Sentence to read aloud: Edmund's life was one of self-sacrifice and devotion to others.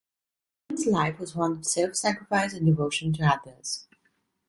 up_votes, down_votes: 0, 2